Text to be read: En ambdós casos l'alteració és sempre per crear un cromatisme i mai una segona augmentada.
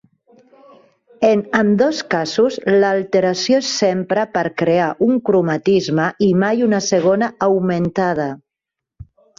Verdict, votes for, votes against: rejected, 1, 2